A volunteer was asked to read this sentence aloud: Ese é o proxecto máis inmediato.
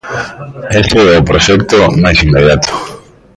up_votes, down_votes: 2, 0